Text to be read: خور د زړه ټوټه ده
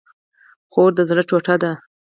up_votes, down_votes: 4, 0